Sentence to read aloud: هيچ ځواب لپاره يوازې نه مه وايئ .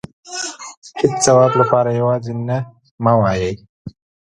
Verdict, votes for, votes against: rejected, 1, 2